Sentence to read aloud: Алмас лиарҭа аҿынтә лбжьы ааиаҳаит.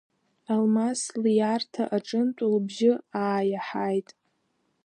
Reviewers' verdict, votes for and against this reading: rejected, 1, 3